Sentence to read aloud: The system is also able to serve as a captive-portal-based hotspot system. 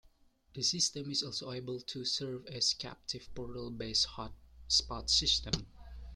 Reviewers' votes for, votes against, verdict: 2, 0, accepted